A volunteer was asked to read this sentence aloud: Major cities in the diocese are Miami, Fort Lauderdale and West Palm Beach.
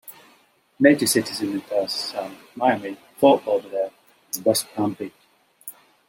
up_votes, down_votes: 0, 3